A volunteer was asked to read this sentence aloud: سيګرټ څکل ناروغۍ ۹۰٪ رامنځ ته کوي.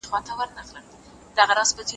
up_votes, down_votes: 0, 2